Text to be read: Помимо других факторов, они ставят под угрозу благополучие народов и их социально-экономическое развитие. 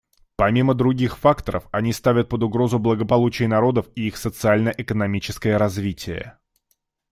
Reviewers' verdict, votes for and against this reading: accepted, 2, 0